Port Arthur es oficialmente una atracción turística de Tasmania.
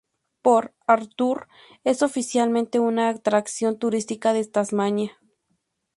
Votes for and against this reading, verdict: 4, 0, accepted